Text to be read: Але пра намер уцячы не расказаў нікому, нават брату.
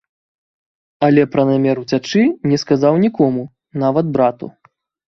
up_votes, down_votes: 0, 2